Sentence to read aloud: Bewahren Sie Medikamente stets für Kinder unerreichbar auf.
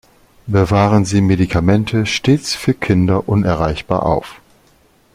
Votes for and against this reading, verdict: 4, 0, accepted